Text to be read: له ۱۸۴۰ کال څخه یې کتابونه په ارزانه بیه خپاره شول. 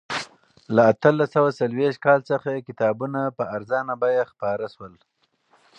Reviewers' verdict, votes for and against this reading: rejected, 0, 2